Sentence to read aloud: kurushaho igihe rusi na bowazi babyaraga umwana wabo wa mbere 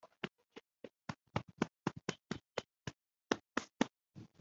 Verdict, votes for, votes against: rejected, 0, 2